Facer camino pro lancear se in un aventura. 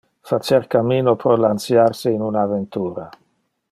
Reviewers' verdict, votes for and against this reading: accepted, 2, 0